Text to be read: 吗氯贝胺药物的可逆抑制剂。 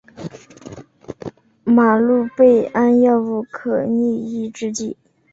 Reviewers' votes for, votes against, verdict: 2, 0, accepted